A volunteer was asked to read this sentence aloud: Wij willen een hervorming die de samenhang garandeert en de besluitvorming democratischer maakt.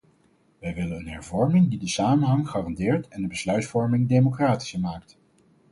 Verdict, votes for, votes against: accepted, 4, 0